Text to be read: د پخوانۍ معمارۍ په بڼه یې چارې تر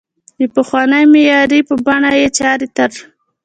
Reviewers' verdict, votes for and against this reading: accepted, 2, 0